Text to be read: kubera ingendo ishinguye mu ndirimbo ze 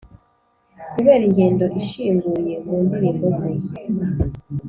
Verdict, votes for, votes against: accepted, 3, 0